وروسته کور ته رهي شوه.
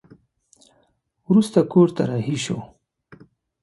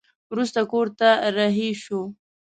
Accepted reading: first